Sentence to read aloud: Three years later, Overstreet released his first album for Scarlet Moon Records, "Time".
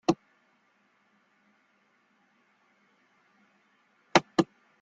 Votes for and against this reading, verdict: 0, 2, rejected